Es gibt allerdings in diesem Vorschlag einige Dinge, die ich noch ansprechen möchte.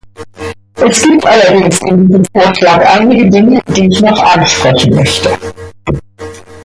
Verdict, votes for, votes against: rejected, 0, 2